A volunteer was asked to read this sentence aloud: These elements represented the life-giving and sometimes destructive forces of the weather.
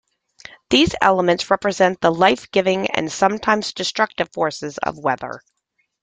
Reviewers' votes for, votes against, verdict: 1, 2, rejected